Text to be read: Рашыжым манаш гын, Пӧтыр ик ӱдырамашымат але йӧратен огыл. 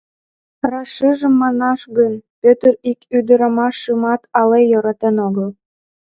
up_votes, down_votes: 1, 2